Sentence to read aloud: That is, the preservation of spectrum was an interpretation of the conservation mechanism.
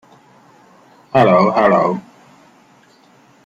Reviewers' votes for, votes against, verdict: 0, 2, rejected